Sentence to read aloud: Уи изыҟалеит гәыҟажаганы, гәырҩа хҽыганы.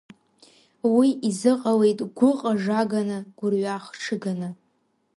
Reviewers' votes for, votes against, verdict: 2, 0, accepted